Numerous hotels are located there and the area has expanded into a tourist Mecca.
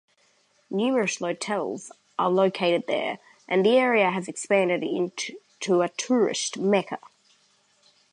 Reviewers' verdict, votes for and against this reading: accepted, 2, 0